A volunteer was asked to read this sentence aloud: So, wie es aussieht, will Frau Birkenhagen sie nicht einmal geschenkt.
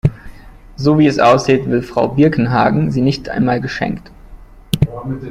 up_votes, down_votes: 2, 0